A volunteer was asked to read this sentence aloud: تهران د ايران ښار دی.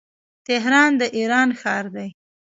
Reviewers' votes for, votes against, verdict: 3, 0, accepted